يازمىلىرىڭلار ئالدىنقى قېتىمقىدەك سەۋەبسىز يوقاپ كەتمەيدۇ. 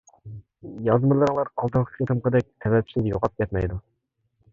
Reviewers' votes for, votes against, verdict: 0, 2, rejected